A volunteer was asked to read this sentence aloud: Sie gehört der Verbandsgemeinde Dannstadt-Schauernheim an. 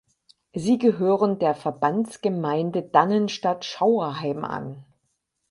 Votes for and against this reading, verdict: 0, 4, rejected